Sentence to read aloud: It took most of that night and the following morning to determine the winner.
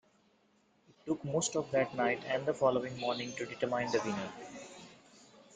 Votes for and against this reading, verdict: 1, 2, rejected